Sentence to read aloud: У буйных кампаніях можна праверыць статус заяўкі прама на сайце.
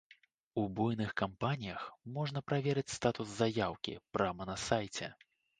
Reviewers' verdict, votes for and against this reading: accepted, 2, 1